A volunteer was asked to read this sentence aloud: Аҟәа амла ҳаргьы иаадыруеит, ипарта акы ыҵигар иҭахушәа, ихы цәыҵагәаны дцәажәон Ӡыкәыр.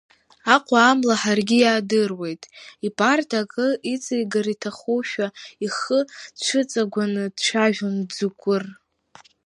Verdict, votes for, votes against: rejected, 1, 2